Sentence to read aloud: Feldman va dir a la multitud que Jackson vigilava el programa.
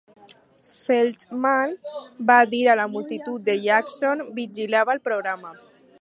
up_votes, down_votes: 2, 2